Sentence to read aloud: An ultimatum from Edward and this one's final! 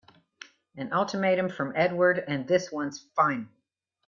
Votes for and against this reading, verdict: 0, 2, rejected